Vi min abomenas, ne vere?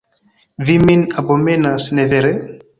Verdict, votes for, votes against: accepted, 2, 0